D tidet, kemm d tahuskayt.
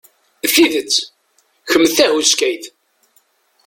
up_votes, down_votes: 1, 2